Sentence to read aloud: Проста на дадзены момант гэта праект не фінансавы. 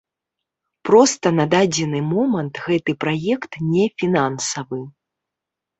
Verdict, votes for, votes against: accepted, 3, 0